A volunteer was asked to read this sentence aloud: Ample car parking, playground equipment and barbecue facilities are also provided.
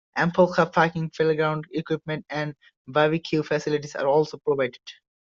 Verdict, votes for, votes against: accepted, 2, 0